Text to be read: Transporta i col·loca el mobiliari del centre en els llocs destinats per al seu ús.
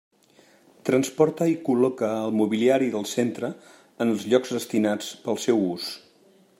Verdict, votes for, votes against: rejected, 0, 2